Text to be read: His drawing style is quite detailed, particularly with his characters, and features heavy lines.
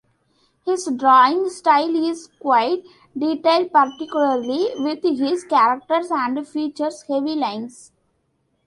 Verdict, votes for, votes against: accepted, 2, 0